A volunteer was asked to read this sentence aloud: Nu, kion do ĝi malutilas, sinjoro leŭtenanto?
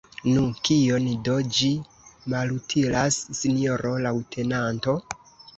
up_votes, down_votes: 0, 2